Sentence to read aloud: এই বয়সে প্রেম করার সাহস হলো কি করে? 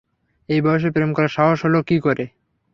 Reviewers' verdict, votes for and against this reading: accepted, 6, 0